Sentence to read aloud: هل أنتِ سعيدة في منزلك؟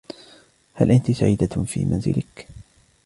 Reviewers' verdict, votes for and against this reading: accepted, 2, 0